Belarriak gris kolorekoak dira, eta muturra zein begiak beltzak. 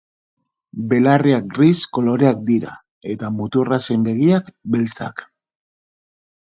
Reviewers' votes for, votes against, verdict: 1, 2, rejected